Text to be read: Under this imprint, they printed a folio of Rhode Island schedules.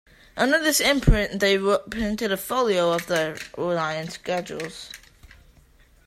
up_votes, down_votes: 2, 1